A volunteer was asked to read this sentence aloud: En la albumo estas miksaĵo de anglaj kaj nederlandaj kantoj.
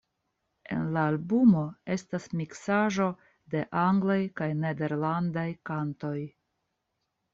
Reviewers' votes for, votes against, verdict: 2, 0, accepted